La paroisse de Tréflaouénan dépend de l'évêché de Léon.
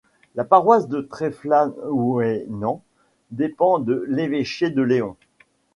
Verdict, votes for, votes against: rejected, 1, 2